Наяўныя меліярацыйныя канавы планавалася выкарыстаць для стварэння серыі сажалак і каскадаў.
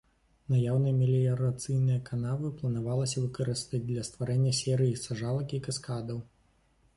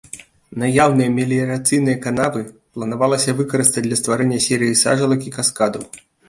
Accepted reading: second